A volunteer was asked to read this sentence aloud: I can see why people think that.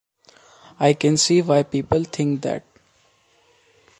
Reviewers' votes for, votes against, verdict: 2, 0, accepted